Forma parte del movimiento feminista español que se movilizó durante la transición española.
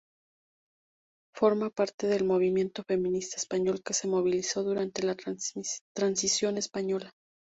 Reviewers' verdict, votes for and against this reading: rejected, 0, 2